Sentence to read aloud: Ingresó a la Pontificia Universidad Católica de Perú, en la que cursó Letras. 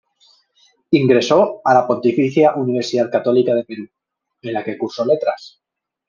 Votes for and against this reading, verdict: 2, 0, accepted